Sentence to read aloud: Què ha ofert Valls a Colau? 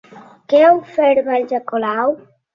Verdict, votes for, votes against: accepted, 3, 0